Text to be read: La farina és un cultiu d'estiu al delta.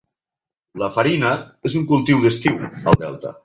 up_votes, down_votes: 4, 2